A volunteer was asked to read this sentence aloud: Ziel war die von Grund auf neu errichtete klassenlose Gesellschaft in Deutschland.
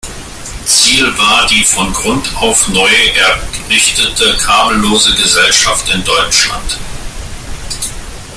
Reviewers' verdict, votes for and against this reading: rejected, 0, 2